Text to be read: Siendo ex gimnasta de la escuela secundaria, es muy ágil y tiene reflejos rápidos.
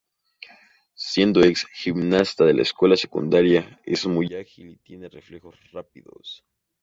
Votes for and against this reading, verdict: 4, 0, accepted